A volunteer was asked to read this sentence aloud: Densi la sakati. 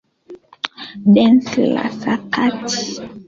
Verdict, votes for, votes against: accepted, 2, 1